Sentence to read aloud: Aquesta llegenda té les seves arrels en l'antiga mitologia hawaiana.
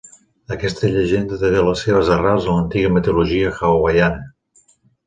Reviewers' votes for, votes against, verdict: 2, 1, accepted